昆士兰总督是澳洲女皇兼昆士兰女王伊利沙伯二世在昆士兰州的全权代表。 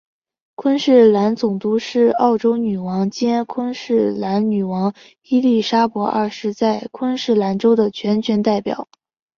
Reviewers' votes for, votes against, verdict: 6, 0, accepted